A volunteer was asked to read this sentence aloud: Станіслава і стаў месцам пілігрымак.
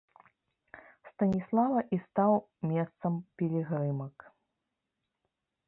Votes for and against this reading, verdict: 2, 0, accepted